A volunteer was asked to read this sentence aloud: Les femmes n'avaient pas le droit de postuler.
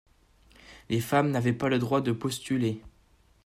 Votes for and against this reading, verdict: 2, 0, accepted